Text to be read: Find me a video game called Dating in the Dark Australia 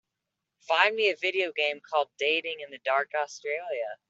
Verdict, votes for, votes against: accepted, 2, 0